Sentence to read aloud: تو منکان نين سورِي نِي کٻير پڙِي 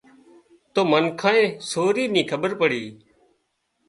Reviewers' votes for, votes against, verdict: 0, 2, rejected